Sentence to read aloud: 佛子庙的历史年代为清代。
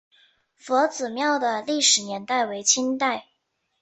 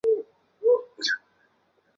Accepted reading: first